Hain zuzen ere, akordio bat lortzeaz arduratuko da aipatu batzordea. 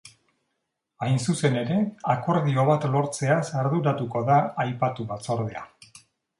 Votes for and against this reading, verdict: 3, 0, accepted